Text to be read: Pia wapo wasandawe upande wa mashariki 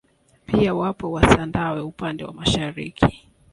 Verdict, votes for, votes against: rejected, 1, 2